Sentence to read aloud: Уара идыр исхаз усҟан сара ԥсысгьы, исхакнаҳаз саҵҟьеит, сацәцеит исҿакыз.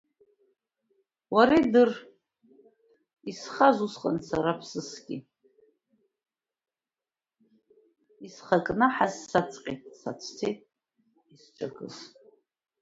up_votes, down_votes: 0, 2